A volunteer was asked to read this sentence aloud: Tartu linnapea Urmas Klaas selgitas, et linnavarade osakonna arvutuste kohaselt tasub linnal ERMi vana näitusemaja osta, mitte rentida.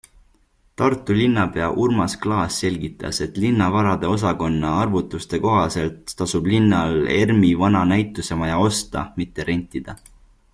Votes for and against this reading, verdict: 2, 0, accepted